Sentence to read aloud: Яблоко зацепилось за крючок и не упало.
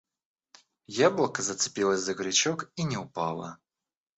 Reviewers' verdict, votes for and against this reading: accepted, 2, 0